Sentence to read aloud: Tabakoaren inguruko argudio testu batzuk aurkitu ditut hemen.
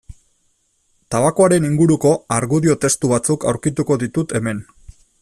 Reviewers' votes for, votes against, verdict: 1, 2, rejected